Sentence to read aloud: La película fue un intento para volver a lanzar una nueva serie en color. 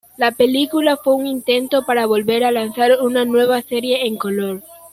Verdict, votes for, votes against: accepted, 2, 0